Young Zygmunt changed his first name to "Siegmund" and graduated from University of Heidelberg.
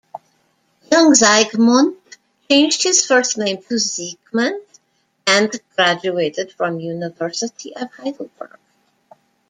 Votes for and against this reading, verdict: 2, 1, accepted